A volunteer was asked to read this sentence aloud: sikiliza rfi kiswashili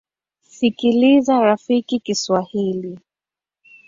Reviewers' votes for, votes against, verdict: 2, 3, rejected